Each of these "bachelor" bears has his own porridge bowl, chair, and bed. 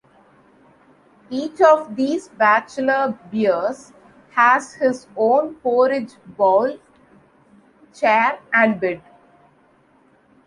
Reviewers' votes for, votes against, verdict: 2, 1, accepted